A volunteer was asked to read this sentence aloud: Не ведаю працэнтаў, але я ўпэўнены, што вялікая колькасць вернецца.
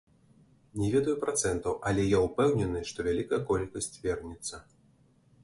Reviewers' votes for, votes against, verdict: 2, 1, accepted